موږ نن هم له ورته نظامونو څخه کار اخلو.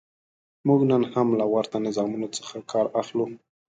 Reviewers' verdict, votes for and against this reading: accepted, 2, 0